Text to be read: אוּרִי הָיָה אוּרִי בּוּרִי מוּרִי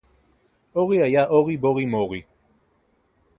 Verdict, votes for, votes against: rejected, 2, 4